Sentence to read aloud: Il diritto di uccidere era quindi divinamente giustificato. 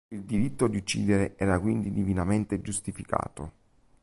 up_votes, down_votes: 3, 0